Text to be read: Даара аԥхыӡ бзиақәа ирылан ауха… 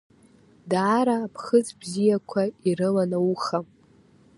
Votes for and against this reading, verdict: 2, 0, accepted